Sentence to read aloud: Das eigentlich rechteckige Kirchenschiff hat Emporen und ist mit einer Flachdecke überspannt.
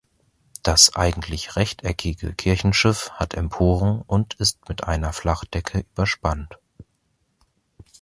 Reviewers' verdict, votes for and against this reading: accepted, 2, 0